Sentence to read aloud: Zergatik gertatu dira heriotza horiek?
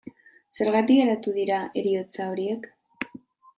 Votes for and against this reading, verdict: 1, 2, rejected